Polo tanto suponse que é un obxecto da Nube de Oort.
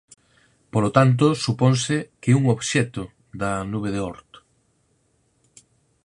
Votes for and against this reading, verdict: 4, 0, accepted